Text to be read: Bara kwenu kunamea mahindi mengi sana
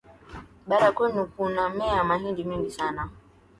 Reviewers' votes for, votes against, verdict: 2, 3, rejected